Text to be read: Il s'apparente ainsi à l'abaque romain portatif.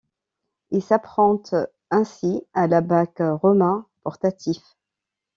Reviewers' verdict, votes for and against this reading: rejected, 0, 2